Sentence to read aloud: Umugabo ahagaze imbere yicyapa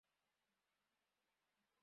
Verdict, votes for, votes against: rejected, 0, 2